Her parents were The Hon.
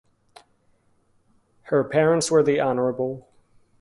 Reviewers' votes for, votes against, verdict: 2, 0, accepted